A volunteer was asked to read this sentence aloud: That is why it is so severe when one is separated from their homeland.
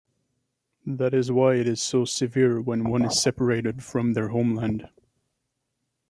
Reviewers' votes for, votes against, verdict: 1, 2, rejected